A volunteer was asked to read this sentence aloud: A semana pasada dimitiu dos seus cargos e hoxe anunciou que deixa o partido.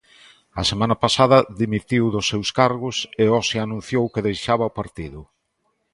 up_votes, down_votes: 0, 2